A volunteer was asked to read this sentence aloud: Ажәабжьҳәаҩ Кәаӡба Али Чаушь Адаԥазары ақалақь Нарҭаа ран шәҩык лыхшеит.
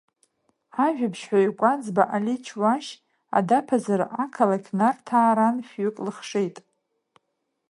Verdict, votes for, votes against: accepted, 2, 0